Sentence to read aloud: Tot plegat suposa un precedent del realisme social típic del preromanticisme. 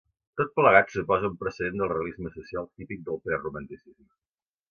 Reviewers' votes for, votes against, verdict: 2, 0, accepted